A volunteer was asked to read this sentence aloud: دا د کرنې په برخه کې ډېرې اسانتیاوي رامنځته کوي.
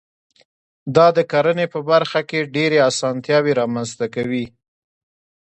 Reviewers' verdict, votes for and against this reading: accepted, 2, 0